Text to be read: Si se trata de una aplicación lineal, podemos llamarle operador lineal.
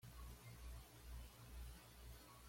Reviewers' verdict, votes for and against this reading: rejected, 1, 2